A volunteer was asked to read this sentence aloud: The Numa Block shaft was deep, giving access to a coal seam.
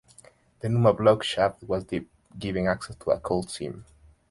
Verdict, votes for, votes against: accepted, 2, 0